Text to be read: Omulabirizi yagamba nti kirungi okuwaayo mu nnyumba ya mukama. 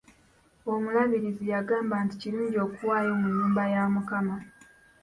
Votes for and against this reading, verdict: 2, 0, accepted